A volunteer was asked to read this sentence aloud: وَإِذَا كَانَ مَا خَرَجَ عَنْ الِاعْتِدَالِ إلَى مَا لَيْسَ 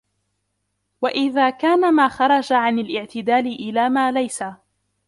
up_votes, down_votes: 1, 2